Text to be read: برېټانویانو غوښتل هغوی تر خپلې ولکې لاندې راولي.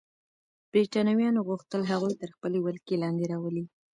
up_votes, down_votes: 1, 2